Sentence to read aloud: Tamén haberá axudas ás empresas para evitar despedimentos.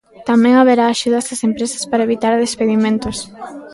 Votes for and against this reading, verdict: 2, 0, accepted